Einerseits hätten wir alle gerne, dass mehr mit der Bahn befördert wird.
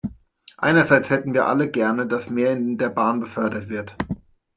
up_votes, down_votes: 1, 2